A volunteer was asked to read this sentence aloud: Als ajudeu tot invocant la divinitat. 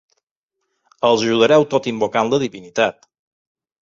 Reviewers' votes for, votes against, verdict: 0, 2, rejected